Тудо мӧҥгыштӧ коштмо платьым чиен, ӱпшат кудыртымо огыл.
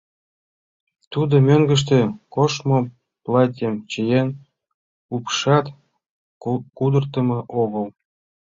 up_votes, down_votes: 1, 2